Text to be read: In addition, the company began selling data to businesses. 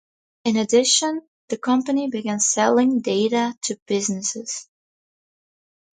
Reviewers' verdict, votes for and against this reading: accepted, 4, 2